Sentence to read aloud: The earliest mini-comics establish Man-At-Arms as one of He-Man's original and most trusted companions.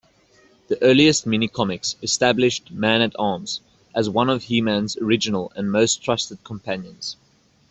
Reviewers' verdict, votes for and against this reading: accepted, 2, 0